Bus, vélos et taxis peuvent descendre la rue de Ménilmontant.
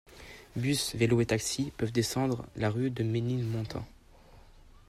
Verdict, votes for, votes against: accepted, 2, 0